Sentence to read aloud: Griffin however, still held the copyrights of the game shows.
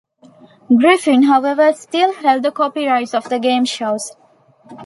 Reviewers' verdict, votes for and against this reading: accepted, 2, 0